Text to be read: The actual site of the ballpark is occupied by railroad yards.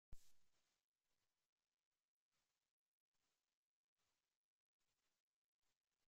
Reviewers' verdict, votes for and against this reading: rejected, 0, 2